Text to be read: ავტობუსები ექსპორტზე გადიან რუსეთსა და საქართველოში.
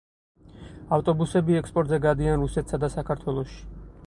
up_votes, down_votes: 4, 0